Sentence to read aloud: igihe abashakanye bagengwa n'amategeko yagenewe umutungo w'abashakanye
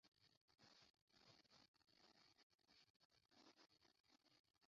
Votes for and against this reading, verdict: 0, 2, rejected